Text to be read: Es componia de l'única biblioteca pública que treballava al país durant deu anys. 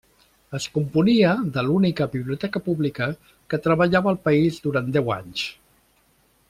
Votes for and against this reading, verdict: 3, 0, accepted